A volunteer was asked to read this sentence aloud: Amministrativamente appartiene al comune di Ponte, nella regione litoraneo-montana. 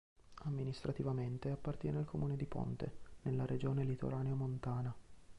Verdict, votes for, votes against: rejected, 1, 2